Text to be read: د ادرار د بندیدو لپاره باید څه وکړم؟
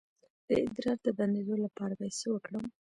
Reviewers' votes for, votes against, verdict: 2, 1, accepted